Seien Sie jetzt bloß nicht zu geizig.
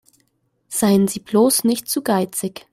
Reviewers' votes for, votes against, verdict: 1, 2, rejected